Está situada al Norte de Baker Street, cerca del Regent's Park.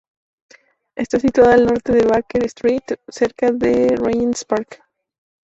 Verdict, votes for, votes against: accepted, 2, 0